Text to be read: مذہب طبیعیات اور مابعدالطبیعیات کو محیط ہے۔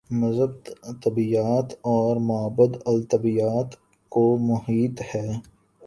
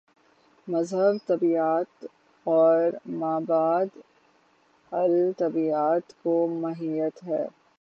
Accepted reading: first